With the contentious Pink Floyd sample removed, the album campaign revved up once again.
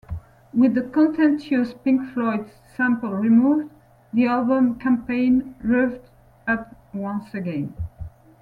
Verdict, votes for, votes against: rejected, 1, 2